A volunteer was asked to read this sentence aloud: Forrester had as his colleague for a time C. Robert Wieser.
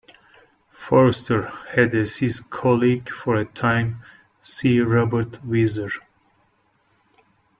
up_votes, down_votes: 1, 2